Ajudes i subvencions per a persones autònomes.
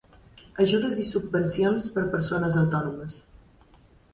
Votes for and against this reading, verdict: 0, 2, rejected